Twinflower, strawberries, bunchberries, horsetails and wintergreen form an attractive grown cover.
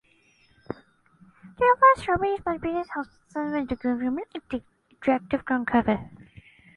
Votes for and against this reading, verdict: 0, 2, rejected